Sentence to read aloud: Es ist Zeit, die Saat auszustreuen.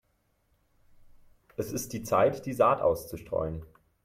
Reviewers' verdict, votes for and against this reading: rejected, 0, 3